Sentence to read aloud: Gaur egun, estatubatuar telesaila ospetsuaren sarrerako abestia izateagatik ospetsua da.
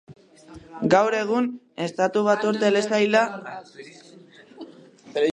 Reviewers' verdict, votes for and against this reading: rejected, 0, 2